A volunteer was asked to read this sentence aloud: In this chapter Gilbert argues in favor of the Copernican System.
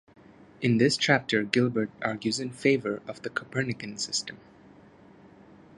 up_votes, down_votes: 2, 0